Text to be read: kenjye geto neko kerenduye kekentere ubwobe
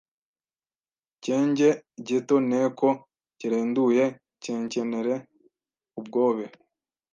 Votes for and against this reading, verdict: 1, 2, rejected